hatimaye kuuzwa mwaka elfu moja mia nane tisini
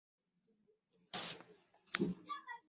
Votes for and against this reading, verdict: 0, 2, rejected